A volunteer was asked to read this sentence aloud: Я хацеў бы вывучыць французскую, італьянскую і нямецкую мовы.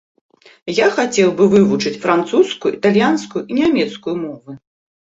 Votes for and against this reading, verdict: 3, 0, accepted